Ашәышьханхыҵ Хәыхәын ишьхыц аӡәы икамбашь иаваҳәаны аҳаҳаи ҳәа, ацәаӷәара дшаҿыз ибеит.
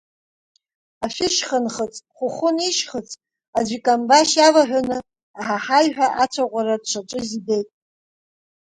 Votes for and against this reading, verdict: 0, 2, rejected